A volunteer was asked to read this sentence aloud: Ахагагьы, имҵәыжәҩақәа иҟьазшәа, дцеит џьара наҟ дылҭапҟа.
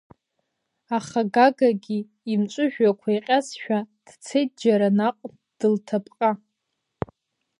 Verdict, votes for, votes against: rejected, 1, 3